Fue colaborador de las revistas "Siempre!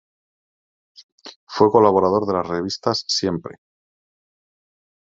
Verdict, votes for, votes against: accepted, 2, 1